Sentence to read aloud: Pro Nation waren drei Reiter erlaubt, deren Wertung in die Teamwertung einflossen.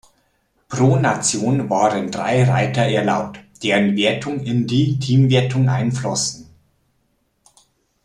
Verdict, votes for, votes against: accepted, 2, 0